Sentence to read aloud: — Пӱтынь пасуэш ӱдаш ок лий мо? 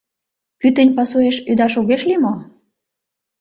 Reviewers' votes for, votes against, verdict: 0, 2, rejected